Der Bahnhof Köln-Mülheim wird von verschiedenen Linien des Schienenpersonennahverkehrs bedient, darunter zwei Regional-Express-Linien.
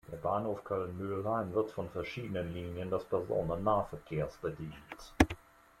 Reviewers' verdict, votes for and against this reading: rejected, 0, 2